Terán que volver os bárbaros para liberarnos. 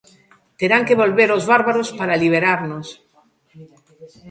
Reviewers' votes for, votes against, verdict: 2, 0, accepted